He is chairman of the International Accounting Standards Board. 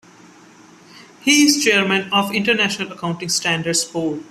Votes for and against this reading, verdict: 2, 1, accepted